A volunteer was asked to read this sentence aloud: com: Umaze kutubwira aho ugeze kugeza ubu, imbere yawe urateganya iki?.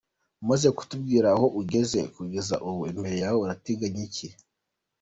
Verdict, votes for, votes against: accepted, 2, 0